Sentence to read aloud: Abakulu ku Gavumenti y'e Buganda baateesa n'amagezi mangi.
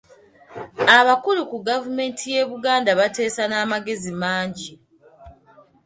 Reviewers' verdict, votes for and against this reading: accepted, 2, 0